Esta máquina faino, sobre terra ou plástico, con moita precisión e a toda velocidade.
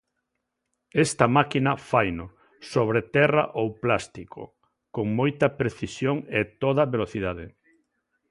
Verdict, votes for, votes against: rejected, 0, 2